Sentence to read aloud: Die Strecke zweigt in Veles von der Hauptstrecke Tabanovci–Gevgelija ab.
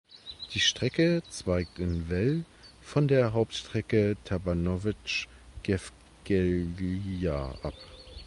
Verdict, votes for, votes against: rejected, 1, 2